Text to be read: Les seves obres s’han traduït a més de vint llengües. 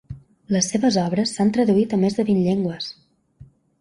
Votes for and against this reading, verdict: 3, 0, accepted